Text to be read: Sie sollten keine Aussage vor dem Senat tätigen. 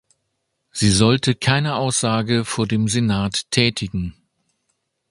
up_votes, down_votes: 1, 2